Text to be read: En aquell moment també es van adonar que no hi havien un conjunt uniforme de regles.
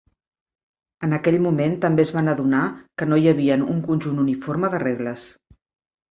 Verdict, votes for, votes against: accepted, 2, 0